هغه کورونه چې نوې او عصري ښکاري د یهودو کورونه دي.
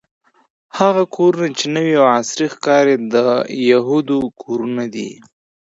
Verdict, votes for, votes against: accepted, 2, 0